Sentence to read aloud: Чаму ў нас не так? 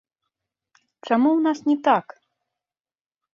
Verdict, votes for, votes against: rejected, 0, 2